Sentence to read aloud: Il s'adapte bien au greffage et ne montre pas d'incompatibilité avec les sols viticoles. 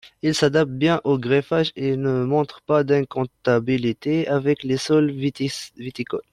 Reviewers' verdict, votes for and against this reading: rejected, 0, 2